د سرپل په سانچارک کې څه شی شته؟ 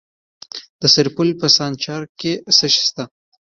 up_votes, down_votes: 1, 2